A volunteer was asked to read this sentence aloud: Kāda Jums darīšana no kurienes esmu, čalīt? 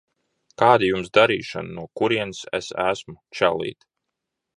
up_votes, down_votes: 0, 2